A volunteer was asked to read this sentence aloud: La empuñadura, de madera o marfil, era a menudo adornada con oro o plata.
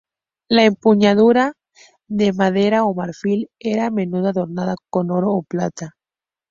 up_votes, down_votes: 2, 0